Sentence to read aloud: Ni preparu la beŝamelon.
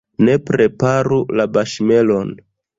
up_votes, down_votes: 0, 2